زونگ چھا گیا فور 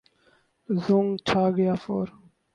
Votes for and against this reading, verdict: 0, 2, rejected